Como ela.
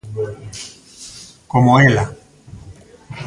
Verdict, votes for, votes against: accepted, 2, 1